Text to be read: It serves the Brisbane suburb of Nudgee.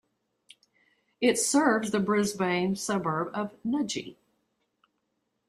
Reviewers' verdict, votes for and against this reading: accepted, 2, 0